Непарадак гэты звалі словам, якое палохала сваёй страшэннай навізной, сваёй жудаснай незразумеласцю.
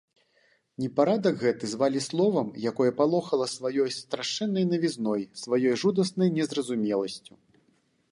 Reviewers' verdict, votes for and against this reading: accepted, 2, 0